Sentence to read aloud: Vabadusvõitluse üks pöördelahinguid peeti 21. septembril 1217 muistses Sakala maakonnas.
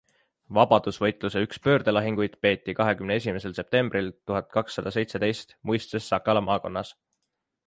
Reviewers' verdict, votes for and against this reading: rejected, 0, 2